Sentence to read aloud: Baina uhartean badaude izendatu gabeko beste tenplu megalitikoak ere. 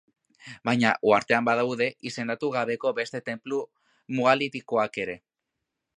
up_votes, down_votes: 1, 2